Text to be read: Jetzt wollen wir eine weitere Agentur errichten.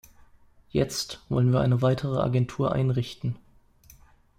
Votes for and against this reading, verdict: 0, 2, rejected